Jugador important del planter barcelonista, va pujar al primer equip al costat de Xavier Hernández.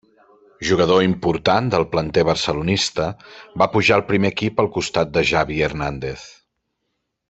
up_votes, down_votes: 1, 2